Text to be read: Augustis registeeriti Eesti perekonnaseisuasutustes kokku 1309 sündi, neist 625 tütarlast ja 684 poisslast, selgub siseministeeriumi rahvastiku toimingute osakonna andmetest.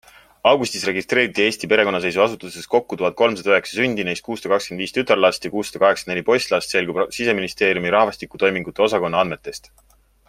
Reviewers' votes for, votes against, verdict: 0, 2, rejected